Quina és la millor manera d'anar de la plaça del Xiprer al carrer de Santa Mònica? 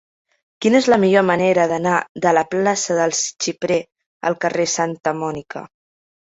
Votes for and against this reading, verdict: 2, 0, accepted